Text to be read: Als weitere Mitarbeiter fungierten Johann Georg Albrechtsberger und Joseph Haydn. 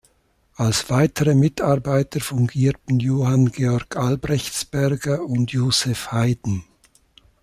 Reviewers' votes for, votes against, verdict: 2, 0, accepted